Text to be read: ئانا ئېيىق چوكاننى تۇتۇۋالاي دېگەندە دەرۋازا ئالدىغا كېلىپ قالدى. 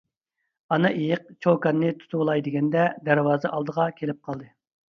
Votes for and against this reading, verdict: 2, 0, accepted